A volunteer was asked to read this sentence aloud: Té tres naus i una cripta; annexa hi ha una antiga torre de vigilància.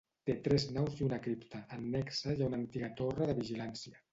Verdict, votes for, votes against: rejected, 2, 3